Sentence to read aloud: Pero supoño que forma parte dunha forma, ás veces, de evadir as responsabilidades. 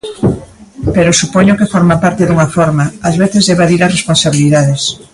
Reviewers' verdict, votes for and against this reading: accepted, 2, 1